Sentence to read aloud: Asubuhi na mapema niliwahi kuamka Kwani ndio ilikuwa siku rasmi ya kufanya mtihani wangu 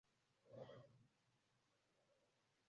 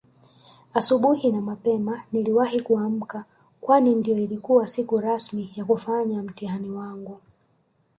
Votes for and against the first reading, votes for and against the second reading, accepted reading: 1, 2, 2, 0, second